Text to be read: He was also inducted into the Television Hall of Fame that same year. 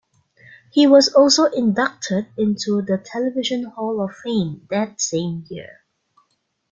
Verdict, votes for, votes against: accepted, 2, 0